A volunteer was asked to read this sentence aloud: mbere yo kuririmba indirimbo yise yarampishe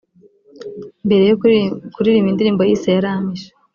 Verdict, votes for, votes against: rejected, 1, 2